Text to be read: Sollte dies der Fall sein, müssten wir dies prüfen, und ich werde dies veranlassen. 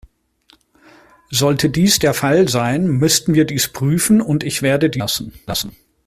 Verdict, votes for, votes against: rejected, 0, 2